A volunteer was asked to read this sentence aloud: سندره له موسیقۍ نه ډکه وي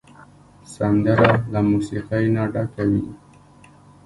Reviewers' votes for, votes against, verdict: 1, 2, rejected